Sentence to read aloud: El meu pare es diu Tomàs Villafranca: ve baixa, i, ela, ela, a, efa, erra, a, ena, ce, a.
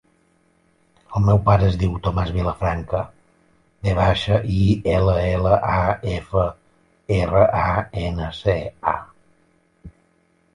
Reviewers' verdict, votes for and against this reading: rejected, 0, 2